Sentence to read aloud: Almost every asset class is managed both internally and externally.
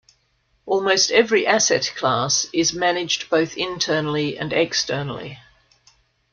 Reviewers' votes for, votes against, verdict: 2, 0, accepted